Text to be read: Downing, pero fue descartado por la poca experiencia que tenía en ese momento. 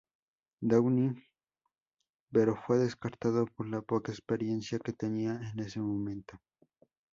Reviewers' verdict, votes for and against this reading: accepted, 2, 0